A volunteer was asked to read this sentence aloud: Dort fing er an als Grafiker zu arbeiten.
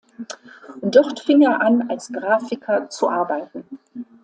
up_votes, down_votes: 2, 0